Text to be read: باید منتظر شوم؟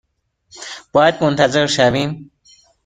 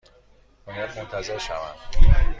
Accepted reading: second